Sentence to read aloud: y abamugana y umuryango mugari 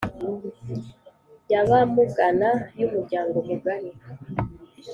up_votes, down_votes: 2, 0